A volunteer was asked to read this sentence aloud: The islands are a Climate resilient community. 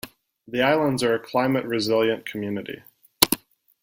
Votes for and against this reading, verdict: 2, 0, accepted